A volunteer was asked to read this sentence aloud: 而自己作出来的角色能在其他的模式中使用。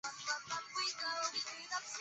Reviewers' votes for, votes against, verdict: 1, 2, rejected